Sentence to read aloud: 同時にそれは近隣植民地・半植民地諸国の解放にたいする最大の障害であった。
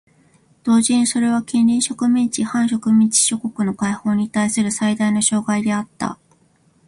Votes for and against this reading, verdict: 2, 0, accepted